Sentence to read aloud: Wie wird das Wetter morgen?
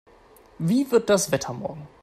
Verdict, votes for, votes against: accepted, 2, 0